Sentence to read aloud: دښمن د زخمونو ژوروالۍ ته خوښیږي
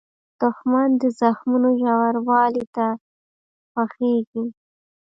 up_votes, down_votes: 0, 2